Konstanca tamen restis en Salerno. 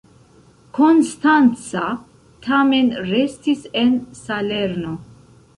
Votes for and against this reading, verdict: 2, 0, accepted